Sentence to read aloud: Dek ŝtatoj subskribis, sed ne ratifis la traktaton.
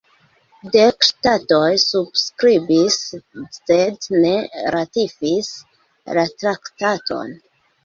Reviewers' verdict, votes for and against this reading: accepted, 2, 0